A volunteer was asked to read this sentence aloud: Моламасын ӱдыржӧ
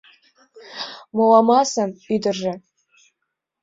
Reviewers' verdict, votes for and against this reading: accepted, 2, 0